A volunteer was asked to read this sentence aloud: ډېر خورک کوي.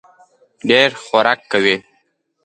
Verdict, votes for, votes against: accepted, 2, 0